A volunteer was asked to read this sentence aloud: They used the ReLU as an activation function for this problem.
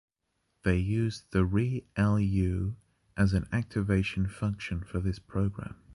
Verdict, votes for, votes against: rejected, 0, 2